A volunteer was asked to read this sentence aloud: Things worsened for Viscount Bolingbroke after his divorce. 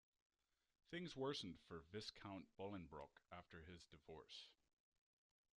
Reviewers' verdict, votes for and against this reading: rejected, 1, 2